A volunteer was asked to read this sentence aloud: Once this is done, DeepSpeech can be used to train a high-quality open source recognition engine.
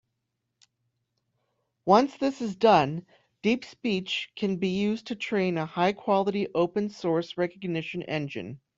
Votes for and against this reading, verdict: 1, 2, rejected